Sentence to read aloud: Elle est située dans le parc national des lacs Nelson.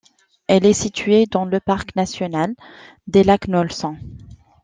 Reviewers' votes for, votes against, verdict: 2, 1, accepted